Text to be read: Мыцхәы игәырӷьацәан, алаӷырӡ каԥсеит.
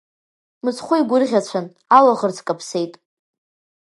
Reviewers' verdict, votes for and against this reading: accepted, 2, 0